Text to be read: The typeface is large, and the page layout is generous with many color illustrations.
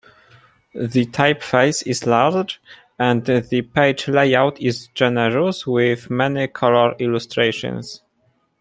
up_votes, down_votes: 2, 0